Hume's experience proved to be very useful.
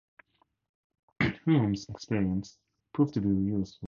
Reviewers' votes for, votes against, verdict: 0, 4, rejected